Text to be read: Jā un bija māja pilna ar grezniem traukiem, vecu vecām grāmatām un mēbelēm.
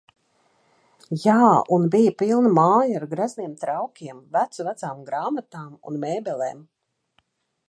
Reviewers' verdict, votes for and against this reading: rejected, 1, 2